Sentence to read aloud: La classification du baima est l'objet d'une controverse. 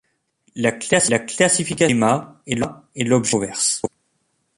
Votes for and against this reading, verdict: 0, 2, rejected